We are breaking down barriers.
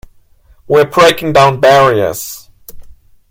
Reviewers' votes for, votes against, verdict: 1, 2, rejected